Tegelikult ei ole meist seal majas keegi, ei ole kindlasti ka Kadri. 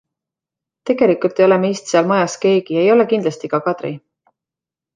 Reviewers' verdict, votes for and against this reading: accepted, 2, 0